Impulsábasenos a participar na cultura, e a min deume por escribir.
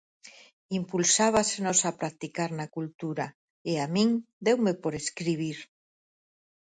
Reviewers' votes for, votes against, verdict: 2, 4, rejected